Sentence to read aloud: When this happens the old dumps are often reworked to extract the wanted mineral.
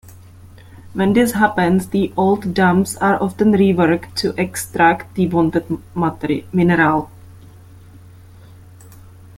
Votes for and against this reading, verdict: 0, 2, rejected